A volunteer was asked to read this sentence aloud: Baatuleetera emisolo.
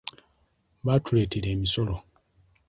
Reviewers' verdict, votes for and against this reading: accepted, 2, 0